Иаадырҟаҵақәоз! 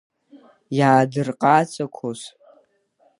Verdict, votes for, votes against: rejected, 1, 2